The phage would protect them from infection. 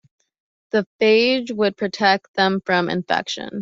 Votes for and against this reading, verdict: 2, 0, accepted